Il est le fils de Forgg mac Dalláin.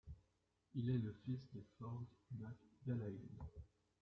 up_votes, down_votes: 0, 2